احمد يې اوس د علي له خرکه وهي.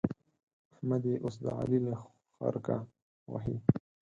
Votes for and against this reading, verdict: 2, 4, rejected